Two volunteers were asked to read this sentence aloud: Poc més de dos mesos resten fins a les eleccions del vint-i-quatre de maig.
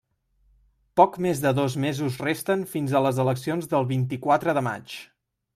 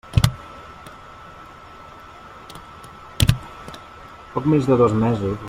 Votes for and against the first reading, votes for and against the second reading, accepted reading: 3, 0, 0, 2, first